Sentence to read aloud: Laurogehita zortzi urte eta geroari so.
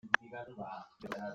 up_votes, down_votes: 0, 2